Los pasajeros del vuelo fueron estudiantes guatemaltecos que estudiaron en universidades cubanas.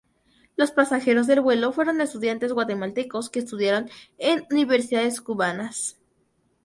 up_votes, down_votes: 2, 2